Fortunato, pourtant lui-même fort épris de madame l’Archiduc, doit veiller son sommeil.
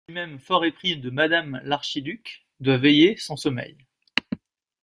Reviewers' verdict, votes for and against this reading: rejected, 0, 2